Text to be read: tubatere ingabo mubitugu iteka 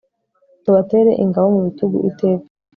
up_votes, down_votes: 2, 0